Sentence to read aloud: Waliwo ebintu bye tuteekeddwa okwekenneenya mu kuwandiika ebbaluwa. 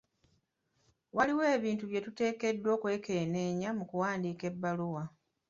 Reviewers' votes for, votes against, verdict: 2, 0, accepted